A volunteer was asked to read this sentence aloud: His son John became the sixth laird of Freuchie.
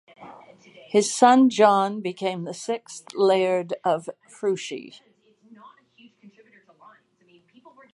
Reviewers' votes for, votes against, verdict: 4, 0, accepted